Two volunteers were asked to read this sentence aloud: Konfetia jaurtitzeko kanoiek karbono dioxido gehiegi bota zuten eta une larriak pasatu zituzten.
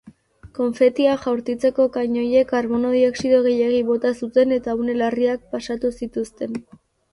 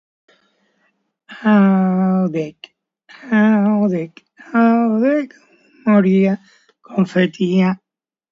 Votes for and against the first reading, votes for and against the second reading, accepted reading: 2, 0, 0, 3, first